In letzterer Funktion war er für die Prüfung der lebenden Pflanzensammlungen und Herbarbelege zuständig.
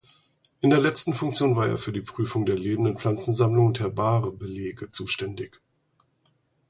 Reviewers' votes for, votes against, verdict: 0, 4, rejected